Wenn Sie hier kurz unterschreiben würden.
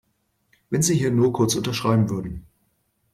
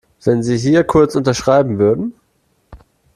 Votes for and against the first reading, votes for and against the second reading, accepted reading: 2, 3, 2, 0, second